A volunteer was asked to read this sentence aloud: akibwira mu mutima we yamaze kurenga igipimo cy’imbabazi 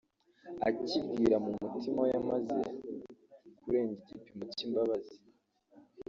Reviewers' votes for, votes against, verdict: 1, 2, rejected